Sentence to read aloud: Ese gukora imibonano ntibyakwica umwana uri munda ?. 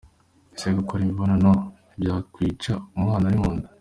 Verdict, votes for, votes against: accepted, 2, 1